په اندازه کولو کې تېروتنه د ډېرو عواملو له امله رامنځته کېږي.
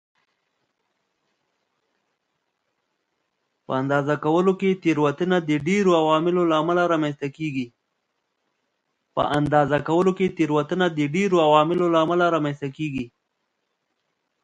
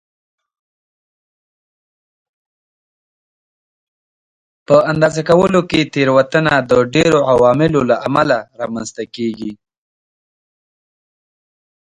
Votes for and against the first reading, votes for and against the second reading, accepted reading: 1, 2, 2, 1, second